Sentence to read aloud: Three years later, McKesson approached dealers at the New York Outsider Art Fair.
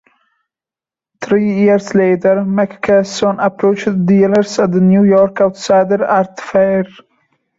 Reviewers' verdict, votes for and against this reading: rejected, 0, 2